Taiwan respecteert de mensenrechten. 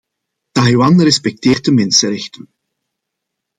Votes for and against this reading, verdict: 2, 0, accepted